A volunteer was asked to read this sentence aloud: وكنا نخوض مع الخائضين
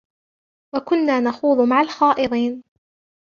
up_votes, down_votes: 1, 2